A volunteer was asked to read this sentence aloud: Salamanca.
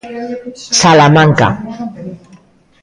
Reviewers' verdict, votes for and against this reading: accepted, 2, 1